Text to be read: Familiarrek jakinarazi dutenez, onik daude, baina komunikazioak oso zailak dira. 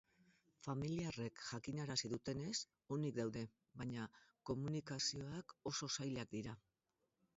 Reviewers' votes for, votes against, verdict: 6, 2, accepted